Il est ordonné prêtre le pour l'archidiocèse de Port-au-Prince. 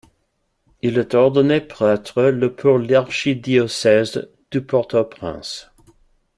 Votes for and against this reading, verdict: 2, 0, accepted